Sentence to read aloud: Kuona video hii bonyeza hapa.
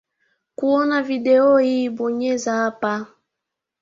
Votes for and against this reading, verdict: 1, 2, rejected